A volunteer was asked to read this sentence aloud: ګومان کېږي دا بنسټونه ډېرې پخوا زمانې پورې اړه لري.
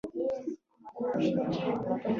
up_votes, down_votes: 2, 3